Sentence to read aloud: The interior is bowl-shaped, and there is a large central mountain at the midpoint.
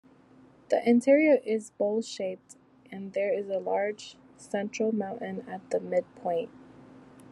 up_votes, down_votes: 2, 0